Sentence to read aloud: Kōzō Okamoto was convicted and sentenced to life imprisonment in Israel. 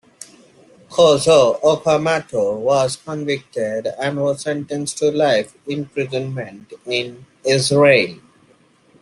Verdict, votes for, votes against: rejected, 0, 2